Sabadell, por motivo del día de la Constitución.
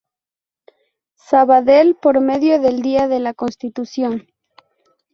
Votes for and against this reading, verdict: 0, 2, rejected